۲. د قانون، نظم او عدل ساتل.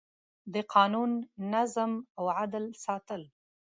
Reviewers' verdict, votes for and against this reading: rejected, 0, 2